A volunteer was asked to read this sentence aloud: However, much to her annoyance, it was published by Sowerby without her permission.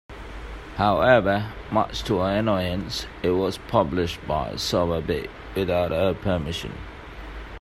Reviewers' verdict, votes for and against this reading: accepted, 2, 0